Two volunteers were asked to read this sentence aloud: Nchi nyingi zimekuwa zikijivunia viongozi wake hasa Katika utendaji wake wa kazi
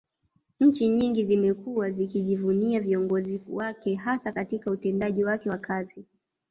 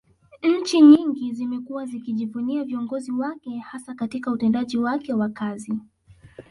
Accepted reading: second